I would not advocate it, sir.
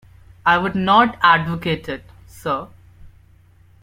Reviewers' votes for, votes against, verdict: 2, 0, accepted